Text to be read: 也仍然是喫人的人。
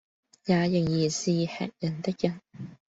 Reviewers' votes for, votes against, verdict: 2, 0, accepted